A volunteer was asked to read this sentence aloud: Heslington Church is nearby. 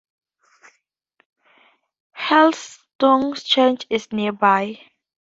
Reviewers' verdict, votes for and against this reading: rejected, 0, 2